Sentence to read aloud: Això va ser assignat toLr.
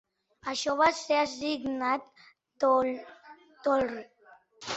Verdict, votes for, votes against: rejected, 0, 2